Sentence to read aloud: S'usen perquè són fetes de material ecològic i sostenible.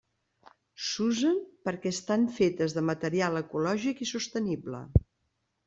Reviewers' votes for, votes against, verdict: 0, 2, rejected